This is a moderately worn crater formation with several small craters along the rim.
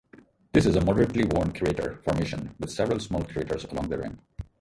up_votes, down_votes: 0, 4